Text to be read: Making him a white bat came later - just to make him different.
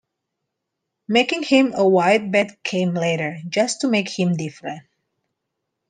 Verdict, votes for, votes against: accepted, 2, 0